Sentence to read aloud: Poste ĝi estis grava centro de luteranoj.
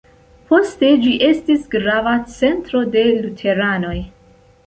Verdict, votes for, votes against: accepted, 3, 0